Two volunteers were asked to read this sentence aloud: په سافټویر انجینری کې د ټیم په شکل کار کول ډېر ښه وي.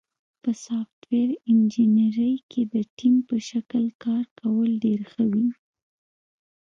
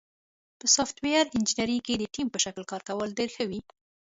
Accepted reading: second